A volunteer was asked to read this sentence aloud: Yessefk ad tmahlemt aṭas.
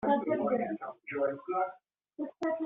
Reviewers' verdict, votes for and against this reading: rejected, 0, 2